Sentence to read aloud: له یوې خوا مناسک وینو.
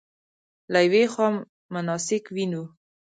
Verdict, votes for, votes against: accepted, 2, 0